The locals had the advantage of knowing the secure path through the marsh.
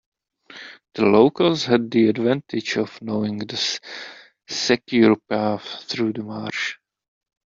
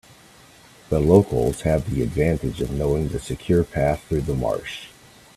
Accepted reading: second